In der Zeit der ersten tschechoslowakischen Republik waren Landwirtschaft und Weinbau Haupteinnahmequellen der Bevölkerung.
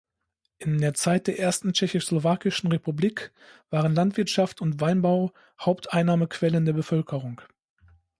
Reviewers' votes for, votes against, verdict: 1, 2, rejected